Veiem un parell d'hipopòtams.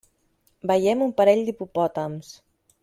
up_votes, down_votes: 3, 0